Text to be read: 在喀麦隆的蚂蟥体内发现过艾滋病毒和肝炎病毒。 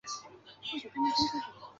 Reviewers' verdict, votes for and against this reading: rejected, 0, 2